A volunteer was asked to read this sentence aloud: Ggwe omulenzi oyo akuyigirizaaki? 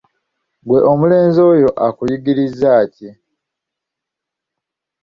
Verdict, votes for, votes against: accepted, 2, 1